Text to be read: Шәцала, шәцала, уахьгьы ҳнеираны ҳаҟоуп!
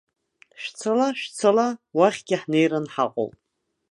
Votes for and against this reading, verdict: 2, 1, accepted